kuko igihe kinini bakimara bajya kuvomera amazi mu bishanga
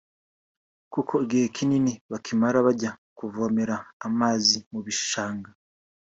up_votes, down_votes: 2, 1